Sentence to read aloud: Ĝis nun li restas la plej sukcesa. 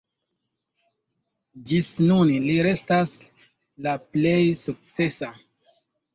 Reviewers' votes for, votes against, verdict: 2, 0, accepted